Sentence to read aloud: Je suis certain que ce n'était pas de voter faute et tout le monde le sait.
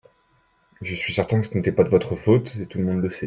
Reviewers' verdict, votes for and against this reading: rejected, 0, 2